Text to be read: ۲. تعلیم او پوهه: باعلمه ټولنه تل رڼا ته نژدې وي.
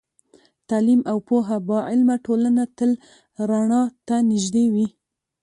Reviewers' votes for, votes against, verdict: 0, 2, rejected